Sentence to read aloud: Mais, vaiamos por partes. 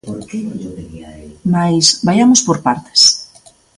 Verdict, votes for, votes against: rejected, 0, 2